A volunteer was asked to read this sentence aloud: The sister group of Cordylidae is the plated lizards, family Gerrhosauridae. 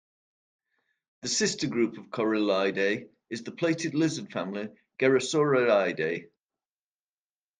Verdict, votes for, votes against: rejected, 1, 2